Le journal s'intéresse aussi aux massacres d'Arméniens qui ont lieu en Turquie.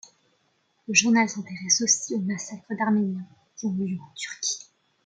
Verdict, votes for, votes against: accepted, 2, 1